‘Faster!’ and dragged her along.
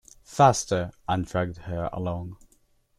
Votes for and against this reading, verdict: 0, 2, rejected